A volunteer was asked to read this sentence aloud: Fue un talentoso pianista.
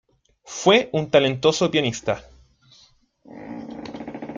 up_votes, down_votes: 2, 1